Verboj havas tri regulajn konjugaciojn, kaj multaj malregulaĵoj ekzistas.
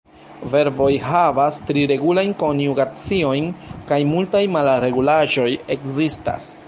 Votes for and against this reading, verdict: 0, 2, rejected